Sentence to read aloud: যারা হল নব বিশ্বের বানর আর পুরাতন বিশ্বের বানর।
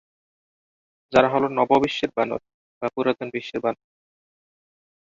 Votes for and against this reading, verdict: 5, 4, accepted